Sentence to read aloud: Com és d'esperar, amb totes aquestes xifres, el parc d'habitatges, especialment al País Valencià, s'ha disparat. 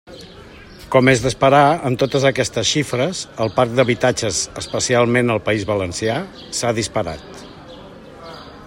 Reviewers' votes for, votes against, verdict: 2, 0, accepted